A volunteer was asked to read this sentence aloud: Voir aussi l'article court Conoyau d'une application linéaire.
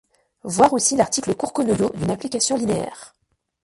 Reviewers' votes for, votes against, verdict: 2, 0, accepted